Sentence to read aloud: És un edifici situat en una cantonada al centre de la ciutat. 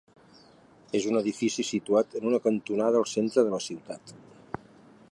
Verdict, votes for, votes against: accepted, 2, 0